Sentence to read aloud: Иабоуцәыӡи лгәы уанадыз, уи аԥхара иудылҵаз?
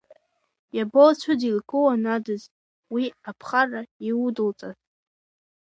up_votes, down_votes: 1, 2